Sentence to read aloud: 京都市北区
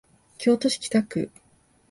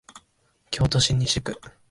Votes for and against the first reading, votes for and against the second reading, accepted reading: 3, 0, 1, 2, first